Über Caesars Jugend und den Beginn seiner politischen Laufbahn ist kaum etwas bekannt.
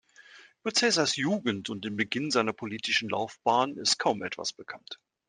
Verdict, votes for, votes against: accepted, 2, 1